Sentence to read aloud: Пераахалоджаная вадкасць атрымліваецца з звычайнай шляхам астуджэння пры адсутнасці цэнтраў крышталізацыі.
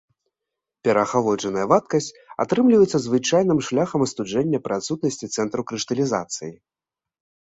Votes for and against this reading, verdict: 1, 2, rejected